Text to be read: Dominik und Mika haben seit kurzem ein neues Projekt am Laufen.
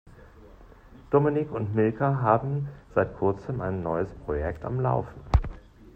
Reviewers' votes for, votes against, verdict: 1, 2, rejected